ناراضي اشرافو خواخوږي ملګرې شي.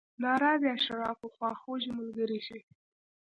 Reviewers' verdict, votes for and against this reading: accepted, 2, 0